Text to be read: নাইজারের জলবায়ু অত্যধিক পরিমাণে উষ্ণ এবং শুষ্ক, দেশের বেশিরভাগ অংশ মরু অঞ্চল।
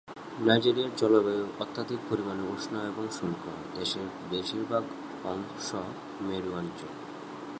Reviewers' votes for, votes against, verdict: 3, 13, rejected